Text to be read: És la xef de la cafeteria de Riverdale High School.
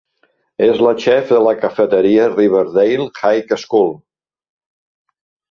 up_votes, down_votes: 2, 1